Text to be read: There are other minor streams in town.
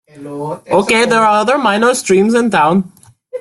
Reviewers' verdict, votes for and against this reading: rejected, 0, 2